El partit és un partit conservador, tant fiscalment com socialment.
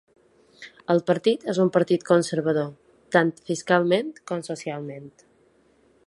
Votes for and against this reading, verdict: 3, 0, accepted